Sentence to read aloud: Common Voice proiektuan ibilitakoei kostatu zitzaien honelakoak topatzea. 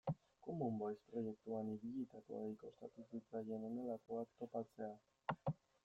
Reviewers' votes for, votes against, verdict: 0, 2, rejected